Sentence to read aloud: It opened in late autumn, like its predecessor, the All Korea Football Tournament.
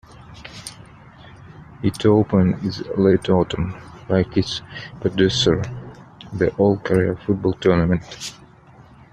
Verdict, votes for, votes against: rejected, 0, 2